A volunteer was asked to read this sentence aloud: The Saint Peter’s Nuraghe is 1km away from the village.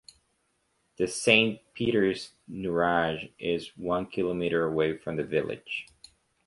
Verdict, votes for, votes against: rejected, 0, 2